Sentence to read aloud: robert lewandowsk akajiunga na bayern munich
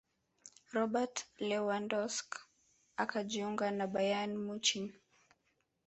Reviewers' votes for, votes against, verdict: 2, 1, accepted